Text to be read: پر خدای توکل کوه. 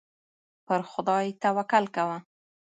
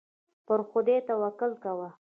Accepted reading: first